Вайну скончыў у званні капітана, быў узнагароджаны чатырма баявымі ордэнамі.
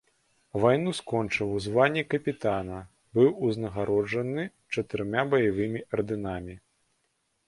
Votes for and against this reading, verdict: 0, 2, rejected